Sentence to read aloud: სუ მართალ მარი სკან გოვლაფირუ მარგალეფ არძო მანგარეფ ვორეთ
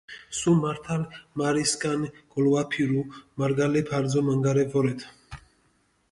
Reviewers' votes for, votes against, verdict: 1, 2, rejected